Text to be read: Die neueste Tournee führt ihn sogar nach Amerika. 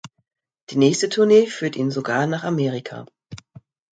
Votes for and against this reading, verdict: 0, 2, rejected